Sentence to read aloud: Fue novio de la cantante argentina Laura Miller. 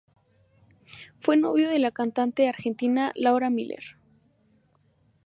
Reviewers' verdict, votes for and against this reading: rejected, 0, 2